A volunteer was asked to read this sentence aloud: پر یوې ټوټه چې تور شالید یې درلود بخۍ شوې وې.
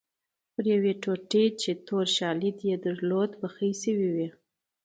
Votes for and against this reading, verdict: 2, 0, accepted